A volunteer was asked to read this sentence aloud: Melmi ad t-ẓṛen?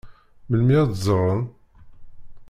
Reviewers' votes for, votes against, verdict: 0, 2, rejected